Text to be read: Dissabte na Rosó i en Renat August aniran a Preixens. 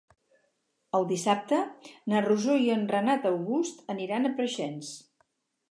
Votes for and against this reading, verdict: 2, 4, rejected